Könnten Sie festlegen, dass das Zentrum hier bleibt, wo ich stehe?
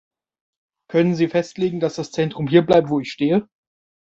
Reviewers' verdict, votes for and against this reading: rejected, 1, 2